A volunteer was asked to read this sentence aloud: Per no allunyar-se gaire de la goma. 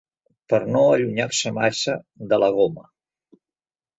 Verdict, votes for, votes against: rejected, 1, 2